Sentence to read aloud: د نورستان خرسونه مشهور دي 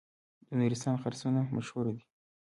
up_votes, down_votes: 1, 2